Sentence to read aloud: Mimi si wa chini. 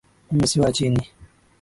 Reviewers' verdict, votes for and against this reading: accepted, 2, 0